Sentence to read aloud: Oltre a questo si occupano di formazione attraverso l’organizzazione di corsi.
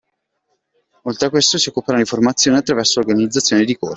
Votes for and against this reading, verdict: 0, 2, rejected